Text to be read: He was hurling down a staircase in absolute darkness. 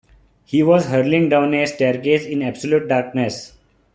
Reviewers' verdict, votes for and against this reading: accepted, 2, 0